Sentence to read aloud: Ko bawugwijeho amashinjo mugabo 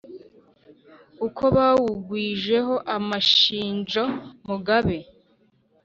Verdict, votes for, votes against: rejected, 1, 2